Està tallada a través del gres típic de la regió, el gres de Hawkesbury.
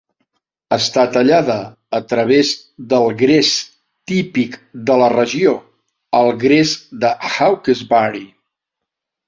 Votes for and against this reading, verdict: 3, 0, accepted